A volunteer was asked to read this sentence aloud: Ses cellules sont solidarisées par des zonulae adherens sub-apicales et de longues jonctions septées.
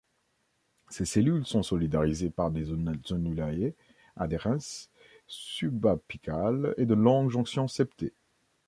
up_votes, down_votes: 0, 2